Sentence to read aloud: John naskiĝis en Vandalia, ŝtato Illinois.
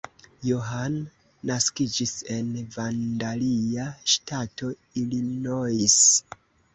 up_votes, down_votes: 0, 2